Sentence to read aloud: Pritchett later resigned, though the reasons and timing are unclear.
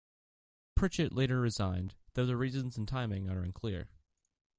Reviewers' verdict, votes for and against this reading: rejected, 0, 2